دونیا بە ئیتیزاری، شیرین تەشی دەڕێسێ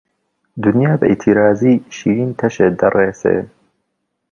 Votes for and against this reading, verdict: 1, 2, rejected